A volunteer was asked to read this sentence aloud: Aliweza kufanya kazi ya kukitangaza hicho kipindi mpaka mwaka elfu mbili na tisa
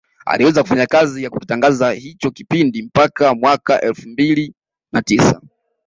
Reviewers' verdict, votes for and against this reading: rejected, 1, 2